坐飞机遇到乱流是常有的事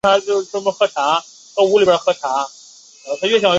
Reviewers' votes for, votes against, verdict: 1, 2, rejected